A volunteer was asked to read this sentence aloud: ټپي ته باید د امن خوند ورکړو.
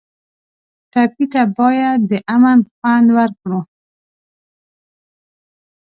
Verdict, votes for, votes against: rejected, 0, 2